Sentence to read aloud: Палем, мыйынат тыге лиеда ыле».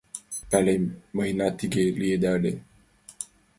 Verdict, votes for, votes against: rejected, 0, 2